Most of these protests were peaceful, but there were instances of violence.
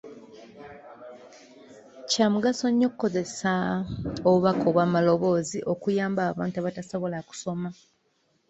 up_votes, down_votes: 0, 2